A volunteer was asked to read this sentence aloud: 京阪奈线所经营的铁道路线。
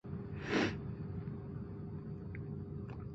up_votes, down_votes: 1, 2